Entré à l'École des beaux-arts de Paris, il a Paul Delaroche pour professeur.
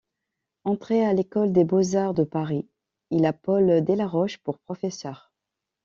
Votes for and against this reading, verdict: 2, 0, accepted